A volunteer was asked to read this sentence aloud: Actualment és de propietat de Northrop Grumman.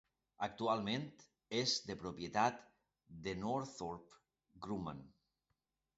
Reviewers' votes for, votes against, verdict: 2, 0, accepted